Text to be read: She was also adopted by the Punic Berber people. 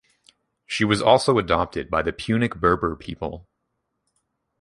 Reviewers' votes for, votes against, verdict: 2, 0, accepted